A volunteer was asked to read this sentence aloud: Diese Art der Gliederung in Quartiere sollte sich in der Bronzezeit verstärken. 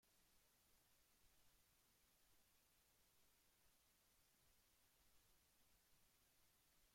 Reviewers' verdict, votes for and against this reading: rejected, 0, 2